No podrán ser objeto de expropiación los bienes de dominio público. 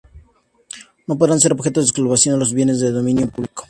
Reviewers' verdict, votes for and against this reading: accepted, 2, 0